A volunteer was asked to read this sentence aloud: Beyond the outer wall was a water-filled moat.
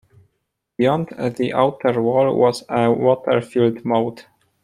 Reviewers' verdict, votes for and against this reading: accepted, 2, 0